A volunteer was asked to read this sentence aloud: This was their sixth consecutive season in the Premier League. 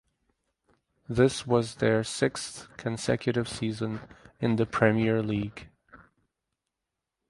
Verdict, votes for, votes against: rejected, 2, 2